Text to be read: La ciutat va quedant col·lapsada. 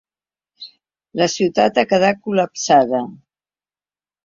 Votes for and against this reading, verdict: 0, 3, rejected